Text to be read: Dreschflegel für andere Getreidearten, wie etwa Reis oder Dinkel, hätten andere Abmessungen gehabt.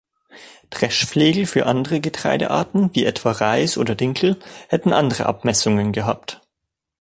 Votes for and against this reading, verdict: 2, 0, accepted